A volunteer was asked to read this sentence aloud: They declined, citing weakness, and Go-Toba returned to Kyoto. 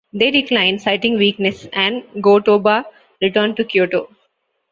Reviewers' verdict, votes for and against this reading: accepted, 2, 0